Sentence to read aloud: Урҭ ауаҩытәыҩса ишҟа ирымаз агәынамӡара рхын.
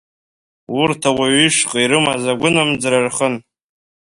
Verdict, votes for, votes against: accepted, 2, 1